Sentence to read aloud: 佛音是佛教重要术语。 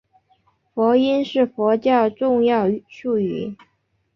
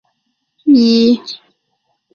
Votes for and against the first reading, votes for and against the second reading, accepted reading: 2, 0, 1, 3, first